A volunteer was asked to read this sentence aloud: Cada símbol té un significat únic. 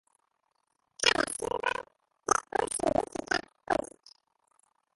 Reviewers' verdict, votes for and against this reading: rejected, 0, 2